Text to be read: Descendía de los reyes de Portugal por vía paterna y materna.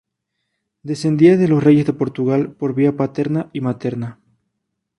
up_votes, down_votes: 4, 0